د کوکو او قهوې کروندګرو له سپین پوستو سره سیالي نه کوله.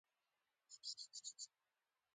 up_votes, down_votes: 2, 1